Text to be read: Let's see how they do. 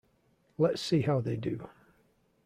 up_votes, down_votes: 2, 0